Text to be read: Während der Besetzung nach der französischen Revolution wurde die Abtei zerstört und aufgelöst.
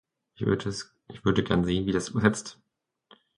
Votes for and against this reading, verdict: 0, 2, rejected